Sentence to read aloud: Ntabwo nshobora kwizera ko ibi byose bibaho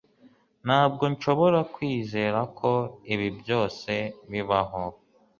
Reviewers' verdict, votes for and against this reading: accepted, 4, 0